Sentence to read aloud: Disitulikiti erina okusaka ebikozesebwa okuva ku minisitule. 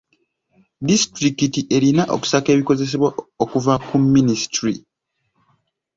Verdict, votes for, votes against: rejected, 1, 2